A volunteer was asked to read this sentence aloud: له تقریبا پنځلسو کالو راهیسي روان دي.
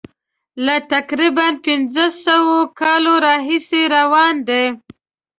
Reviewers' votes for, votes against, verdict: 1, 2, rejected